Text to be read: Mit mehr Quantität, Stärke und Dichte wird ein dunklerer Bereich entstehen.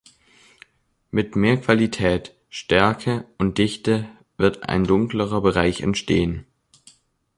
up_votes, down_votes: 1, 2